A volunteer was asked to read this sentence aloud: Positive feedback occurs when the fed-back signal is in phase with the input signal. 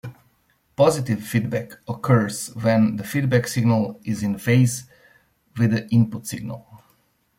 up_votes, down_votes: 1, 2